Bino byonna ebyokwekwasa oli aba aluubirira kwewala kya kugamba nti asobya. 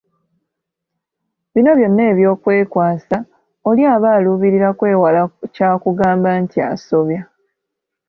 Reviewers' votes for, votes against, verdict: 2, 0, accepted